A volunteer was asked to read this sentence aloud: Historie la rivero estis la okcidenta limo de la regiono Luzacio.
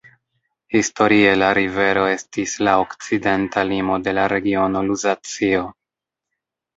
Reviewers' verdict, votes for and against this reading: rejected, 1, 2